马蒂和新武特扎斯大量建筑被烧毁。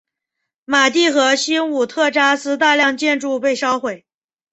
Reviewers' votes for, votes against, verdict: 3, 0, accepted